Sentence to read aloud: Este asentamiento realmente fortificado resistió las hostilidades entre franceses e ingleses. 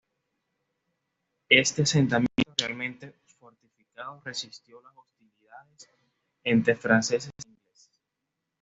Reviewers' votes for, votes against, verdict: 1, 2, rejected